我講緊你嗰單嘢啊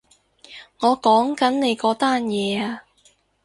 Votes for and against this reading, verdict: 2, 0, accepted